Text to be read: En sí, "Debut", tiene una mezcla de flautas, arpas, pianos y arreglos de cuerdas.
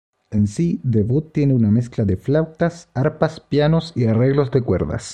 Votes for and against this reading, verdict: 1, 2, rejected